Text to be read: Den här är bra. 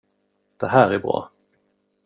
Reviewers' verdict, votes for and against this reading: rejected, 0, 2